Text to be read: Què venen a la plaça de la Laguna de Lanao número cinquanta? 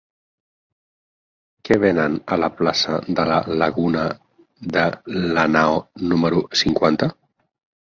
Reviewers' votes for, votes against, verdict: 0, 4, rejected